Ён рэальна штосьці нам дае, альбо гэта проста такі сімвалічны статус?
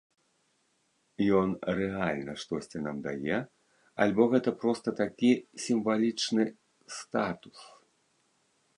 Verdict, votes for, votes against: accepted, 2, 0